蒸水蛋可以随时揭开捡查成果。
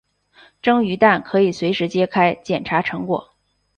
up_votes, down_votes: 0, 2